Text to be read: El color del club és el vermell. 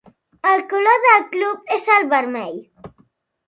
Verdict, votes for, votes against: accepted, 2, 0